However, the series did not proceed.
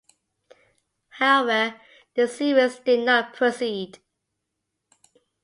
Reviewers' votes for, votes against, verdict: 2, 0, accepted